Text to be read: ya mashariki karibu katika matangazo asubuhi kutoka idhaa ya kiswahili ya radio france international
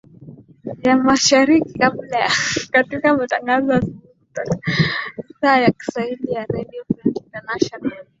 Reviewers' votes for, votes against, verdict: 1, 2, rejected